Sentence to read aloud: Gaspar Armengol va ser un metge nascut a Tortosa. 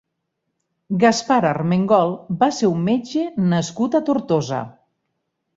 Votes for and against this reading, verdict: 6, 0, accepted